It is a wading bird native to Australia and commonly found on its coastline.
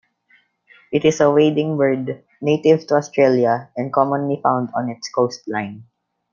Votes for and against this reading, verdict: 2, 0, accepted